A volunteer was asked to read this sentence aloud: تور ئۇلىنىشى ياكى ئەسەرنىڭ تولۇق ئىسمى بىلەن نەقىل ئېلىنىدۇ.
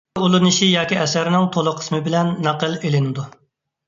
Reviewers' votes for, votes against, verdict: 0, 2, rejected